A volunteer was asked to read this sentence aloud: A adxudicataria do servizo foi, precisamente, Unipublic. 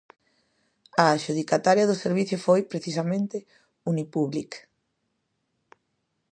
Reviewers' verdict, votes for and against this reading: rejected, 0, 2